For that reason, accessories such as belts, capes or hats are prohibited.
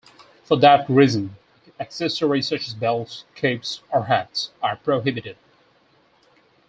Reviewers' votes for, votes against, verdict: 6, 0, accepted